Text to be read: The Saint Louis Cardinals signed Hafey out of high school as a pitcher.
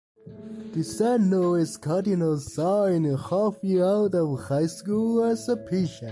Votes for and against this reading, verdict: 2, 1, accepted